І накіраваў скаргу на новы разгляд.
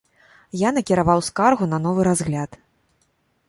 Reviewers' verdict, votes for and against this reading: rejected, 0, 2